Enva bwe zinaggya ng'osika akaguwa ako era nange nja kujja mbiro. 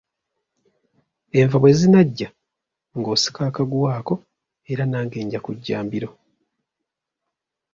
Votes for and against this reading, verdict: 2, 0, accepted